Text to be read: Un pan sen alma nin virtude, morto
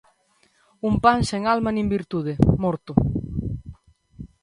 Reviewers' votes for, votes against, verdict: 2, 0, accepted